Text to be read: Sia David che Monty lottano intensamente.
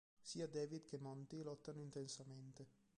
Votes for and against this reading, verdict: 0, 2, rejected